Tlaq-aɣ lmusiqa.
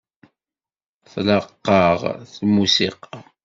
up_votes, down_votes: 2, 0